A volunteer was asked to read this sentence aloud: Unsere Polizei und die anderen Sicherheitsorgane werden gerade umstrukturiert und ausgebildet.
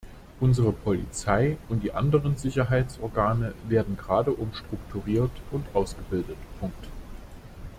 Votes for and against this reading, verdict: 0, 2, rejected